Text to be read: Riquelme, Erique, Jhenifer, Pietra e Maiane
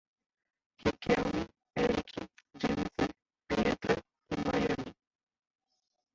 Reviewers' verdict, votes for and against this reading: rejected, 1, 2